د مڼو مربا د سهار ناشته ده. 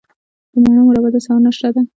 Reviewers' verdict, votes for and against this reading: accepted, 2, 1